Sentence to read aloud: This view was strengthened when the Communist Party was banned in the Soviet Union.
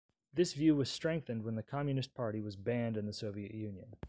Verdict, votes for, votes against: accepted, 2, 0